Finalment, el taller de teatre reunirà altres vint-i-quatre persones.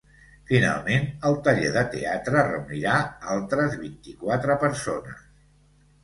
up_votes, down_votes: 2, 0